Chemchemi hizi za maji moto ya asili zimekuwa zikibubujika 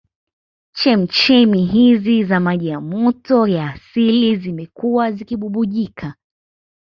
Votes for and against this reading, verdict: 2, 0, accepted